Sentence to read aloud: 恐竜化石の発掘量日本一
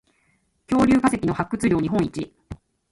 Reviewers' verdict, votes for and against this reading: rejected, 0, 2